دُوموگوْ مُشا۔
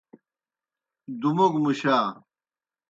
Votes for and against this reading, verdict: 2, 0, accepted